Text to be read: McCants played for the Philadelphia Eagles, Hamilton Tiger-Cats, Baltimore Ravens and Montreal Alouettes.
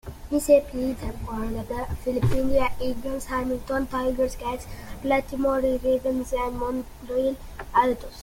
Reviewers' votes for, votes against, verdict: 0, 2, rejected